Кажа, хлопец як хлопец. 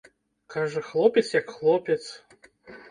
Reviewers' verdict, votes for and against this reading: accepted, 2, 0